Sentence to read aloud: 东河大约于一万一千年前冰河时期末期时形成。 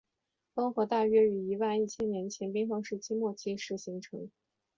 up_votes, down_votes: 2, 0